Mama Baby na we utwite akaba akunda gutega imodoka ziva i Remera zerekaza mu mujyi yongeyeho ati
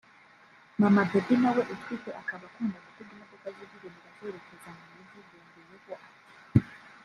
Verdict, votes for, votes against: rejected, 0, 2